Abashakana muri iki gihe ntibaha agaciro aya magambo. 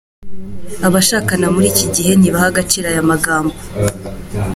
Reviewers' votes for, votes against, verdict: 2, 1, accepted